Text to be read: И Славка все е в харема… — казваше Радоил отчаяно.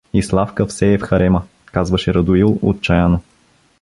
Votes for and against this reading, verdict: 2, 0, accepted